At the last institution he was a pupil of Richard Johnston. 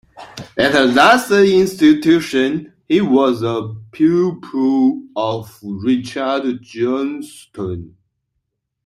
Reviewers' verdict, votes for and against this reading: rejected, 0, 2